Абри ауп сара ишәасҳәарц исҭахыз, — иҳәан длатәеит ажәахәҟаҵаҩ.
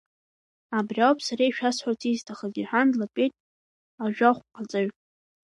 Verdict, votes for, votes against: rejected, 0, 2